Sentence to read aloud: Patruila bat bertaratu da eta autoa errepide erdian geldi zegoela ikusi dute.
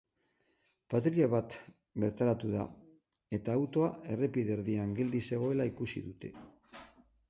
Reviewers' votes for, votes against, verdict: 6, 9, rejected